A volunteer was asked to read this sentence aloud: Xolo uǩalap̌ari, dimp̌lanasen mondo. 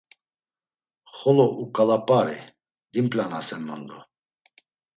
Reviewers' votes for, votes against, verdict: 2, 0, accepted